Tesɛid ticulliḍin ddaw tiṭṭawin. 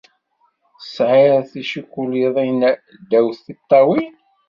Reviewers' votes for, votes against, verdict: 1, 2, rejected